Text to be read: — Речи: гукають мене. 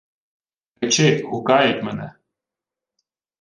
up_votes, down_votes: 1, 2